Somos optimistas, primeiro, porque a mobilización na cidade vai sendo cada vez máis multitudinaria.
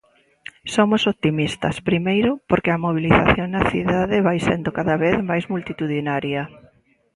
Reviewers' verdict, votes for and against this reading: accepted, 2, 0